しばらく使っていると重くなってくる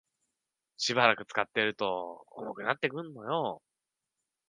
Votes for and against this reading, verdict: 1, 2, rejected